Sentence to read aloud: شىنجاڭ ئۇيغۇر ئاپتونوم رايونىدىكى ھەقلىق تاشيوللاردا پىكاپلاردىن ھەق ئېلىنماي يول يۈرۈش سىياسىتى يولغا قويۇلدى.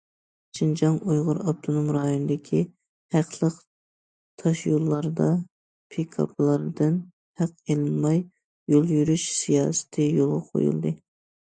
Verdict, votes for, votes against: accepted, 2, 0